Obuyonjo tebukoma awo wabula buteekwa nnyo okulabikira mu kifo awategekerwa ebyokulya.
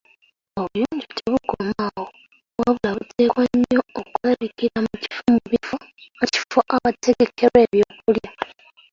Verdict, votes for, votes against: rejected, 0, 3